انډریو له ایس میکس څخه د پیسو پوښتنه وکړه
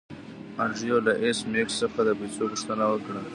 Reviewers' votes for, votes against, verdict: 2, 0, accepted